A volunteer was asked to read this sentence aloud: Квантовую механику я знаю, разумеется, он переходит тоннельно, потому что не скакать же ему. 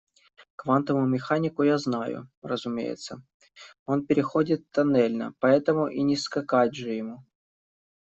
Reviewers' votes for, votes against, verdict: 1, 2, rejected